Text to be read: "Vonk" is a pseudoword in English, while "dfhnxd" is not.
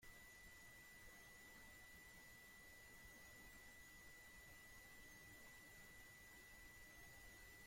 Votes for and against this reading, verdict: 0, 2, rejected